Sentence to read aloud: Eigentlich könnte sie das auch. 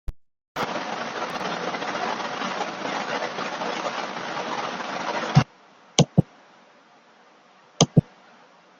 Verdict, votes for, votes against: rejected, 0, 2